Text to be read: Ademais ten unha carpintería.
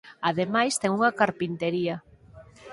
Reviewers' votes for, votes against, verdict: 4, 0, accepted